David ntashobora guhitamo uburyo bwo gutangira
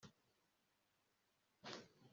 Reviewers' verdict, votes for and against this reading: rejected, 1, 2